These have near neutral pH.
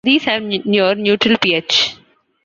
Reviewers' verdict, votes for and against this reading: rejected, 0, 2